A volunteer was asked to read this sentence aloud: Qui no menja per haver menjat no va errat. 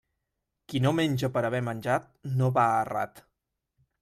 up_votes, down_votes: 2, 0